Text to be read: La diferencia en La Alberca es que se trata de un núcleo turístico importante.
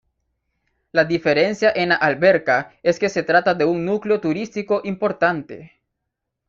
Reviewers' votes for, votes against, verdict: 2, 0, accepted